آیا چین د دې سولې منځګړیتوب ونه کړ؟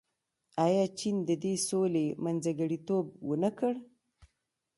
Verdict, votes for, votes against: accepted, 2, 1